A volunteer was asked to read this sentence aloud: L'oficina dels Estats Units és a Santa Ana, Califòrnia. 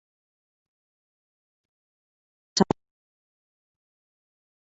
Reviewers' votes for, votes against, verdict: 0, 2, rejected